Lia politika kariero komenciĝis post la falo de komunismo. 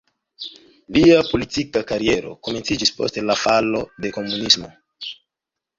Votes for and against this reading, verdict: 3, 0, accepted